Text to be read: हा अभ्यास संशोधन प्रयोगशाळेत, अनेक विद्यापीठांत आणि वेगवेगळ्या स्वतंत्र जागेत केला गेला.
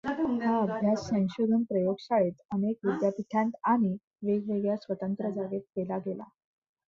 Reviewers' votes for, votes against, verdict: 0, 2, rejected